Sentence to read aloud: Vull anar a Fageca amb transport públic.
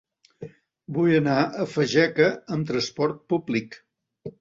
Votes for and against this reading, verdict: 2, 0, accepted